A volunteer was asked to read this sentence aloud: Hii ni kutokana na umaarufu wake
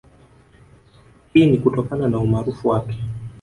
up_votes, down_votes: 2, 0